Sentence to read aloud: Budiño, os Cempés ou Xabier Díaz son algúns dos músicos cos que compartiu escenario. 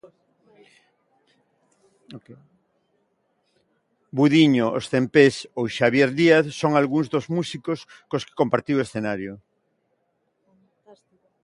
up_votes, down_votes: 1, 2